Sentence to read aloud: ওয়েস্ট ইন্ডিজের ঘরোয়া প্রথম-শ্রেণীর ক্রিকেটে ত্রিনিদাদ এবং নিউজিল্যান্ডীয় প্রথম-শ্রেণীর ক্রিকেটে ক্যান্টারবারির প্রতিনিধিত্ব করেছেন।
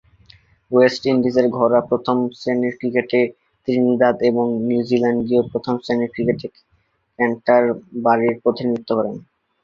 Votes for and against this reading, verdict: 0, 6, rejected